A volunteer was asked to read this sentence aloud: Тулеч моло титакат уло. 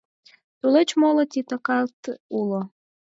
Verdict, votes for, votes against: accepted, 4, 0